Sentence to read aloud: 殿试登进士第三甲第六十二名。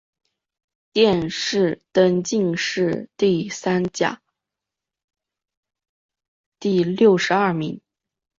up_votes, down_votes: 2, 0